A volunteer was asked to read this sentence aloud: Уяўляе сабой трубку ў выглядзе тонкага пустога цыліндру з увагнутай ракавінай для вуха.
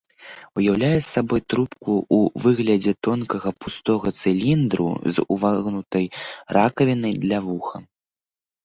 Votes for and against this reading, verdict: 0, 2, rejected